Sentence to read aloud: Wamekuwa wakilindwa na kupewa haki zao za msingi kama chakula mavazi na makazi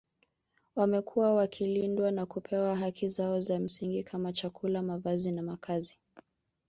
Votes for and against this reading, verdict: 1, 2, rejected